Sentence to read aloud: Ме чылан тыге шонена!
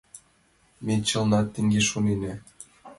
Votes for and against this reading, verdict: 1, 2, rejected